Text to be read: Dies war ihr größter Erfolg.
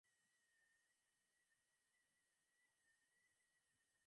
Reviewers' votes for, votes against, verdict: 0, 2, rejected